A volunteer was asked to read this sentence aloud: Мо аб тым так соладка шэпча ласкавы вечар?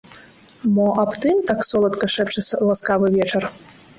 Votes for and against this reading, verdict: 0, 2, rejected